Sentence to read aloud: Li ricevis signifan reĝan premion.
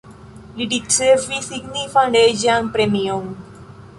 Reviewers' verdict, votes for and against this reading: accepted, 2, 1